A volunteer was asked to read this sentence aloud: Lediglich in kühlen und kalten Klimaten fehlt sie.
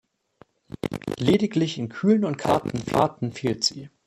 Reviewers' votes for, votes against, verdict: 0, 2, rejected